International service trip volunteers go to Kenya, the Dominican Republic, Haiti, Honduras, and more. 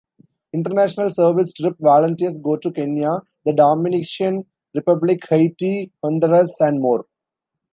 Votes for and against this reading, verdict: 0, 2, rejected